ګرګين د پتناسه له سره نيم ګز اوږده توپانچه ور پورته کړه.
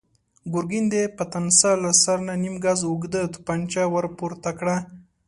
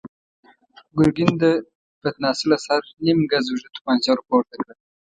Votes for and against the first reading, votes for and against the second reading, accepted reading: 2, 3, 2, 0, second